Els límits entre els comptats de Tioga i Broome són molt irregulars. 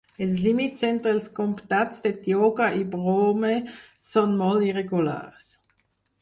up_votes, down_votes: 4, 2